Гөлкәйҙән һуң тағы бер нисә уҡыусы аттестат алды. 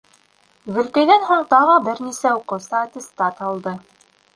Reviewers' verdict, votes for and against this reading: rejected, 1, 2